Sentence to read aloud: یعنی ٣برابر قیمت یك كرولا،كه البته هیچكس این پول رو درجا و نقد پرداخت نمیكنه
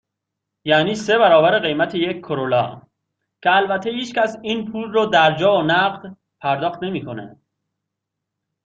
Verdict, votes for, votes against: rejected, 0, 2